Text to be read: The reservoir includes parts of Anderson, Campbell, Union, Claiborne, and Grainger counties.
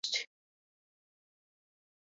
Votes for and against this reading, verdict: 0, 2, rejected